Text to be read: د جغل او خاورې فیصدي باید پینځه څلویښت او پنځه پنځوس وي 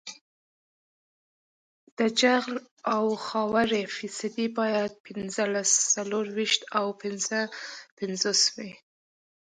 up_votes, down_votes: 0, 2